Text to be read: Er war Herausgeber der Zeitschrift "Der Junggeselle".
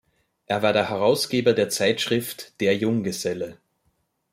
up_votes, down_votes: 1, 2